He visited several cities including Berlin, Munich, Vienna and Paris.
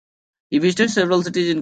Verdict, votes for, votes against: rejected, 0, 2